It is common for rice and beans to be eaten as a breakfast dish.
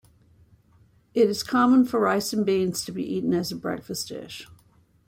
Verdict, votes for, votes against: accepted, 2, 0